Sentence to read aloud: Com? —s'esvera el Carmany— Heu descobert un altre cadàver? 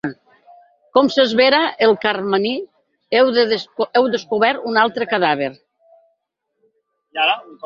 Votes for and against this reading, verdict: 0, 4, rejected